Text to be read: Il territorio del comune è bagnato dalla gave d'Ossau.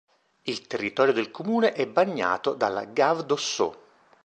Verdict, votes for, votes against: accepted, 2, 0